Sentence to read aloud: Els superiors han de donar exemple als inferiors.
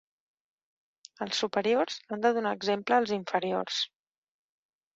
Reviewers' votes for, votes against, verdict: 3, 0, accepted